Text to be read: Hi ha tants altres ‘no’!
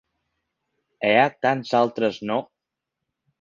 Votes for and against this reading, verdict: 0, 2, rejected